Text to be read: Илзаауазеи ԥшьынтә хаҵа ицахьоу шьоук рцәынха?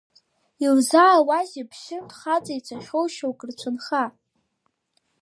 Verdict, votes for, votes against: accepted, 4, 1